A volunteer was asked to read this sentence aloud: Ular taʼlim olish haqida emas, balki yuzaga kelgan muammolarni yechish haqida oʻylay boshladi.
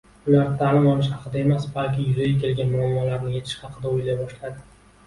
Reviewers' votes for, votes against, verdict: 2, 0, accepted